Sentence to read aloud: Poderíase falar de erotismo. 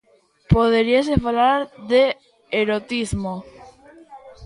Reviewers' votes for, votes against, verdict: 1, 2, rejected